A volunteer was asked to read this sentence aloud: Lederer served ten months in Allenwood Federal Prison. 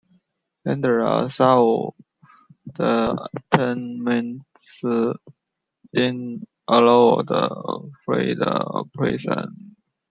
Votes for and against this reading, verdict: 0, 3, rejected